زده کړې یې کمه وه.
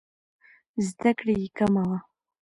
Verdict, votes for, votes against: accepted, 2, 0